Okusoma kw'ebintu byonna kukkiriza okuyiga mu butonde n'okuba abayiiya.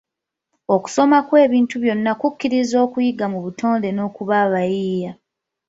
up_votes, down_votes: 2, 0